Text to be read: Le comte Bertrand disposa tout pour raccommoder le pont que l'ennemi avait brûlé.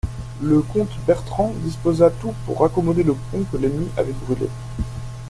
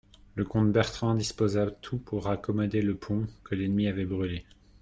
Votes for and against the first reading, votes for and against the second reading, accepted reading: 2, 0, 1, 2, first